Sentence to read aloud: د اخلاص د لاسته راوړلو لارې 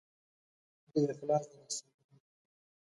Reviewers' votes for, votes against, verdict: 0, 2, rejected